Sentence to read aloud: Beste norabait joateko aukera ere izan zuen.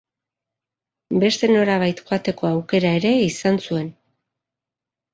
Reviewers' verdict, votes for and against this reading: accepted, 2, 0